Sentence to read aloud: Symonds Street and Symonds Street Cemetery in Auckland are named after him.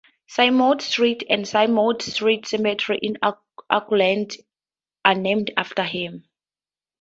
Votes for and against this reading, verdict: 2, 2, rejected